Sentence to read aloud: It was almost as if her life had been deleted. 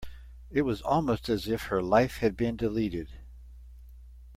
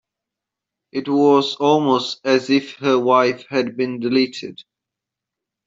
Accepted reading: first